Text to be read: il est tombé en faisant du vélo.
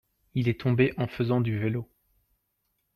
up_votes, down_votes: 2, 0